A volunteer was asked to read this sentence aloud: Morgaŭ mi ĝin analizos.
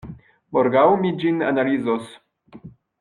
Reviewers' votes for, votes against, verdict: 1, 2, rejected